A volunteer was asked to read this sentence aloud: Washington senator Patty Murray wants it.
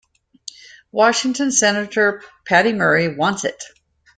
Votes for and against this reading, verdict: 2, 1, accepted